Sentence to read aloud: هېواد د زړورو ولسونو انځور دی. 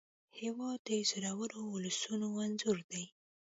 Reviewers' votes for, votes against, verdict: 1, 2, rejected